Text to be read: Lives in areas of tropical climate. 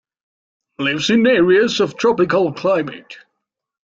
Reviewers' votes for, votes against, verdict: 0, 2, rejected